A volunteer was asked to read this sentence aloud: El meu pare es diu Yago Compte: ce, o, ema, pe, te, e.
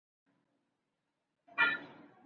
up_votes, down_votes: 0, 3